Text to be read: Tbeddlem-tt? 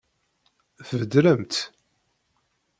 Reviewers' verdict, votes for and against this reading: accepted, 2, 0